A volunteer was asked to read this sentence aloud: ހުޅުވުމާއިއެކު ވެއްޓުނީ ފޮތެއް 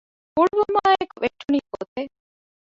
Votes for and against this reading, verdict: 1, 2, rejected